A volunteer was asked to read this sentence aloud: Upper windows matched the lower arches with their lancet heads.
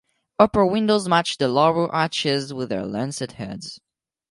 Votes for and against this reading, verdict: 4, 0, accepted